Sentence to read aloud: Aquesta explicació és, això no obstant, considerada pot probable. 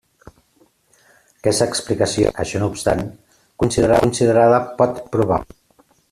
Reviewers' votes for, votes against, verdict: 0, 2, rejected